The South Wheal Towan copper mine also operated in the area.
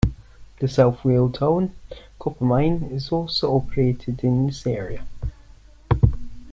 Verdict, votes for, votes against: rejected, 1, 2